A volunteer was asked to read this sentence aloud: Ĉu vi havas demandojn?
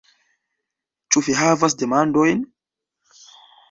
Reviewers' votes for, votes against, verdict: 2, 0, accepted